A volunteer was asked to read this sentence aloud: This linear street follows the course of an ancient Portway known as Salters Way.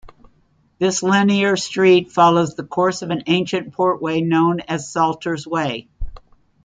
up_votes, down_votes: 2, 0